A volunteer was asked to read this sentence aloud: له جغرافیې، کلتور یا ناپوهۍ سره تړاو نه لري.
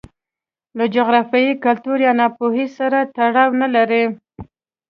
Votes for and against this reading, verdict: 2, 0, accepted